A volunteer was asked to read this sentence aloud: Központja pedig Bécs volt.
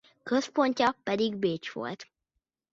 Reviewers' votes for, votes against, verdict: 2, 1, accepted